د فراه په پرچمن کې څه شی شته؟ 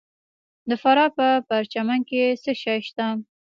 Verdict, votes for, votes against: rejected, 1, 2